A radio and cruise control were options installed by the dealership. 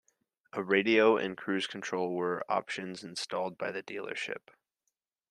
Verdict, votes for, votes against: accepted, 2, 0